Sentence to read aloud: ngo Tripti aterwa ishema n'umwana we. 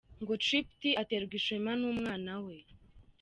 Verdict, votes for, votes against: accepted, 2, 0